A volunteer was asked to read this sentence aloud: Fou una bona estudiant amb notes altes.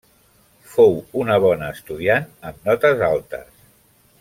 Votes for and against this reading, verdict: 3, 1, accepted